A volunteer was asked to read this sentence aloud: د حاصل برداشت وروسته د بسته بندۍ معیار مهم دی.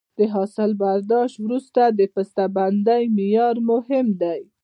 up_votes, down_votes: 2, 0